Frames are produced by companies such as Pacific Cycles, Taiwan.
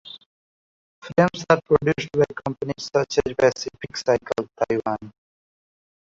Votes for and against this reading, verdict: 0, 2, rejected